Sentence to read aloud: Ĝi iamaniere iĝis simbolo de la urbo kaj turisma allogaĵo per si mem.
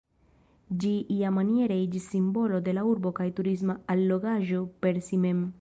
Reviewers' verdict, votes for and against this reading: accepted, 3, 0